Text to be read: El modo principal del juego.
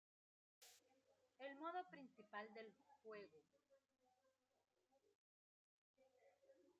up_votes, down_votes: 1, 2